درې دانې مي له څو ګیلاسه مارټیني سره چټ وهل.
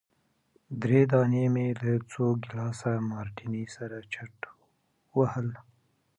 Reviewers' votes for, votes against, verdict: 2, 0, accepted